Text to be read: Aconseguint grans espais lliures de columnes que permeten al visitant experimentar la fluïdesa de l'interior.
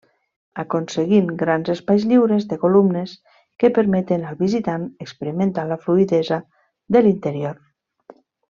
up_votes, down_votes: 2, 0